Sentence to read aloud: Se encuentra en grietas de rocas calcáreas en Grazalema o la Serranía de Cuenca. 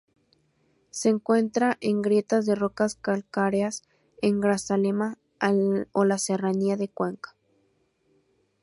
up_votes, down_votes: 2, 2